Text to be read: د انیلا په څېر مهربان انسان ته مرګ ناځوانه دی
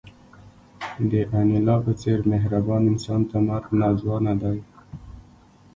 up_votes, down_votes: 2, 1